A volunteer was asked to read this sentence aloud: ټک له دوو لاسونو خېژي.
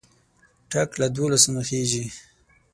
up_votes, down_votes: 9, 3